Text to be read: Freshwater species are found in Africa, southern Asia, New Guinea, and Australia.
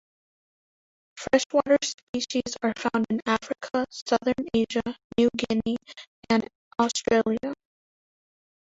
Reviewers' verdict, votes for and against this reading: rejected, 1, 2